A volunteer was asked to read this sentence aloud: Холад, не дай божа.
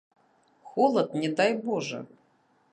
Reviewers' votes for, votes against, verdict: 0, 2, rejected